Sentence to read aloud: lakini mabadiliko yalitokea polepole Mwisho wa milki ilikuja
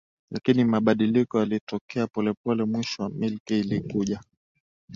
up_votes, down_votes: 2, 0